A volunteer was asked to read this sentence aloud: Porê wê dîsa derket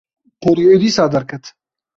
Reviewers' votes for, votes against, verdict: 2, 0, accepted